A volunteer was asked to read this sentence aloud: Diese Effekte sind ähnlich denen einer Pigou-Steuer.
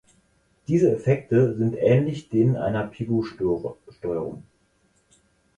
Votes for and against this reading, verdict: 0, 4, rejected